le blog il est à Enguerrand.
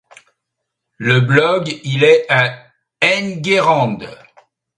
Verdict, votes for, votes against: accepted, 2, 0